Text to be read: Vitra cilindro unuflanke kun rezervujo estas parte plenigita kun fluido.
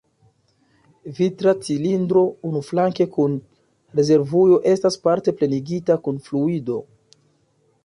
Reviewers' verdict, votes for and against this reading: accepted, 2, 0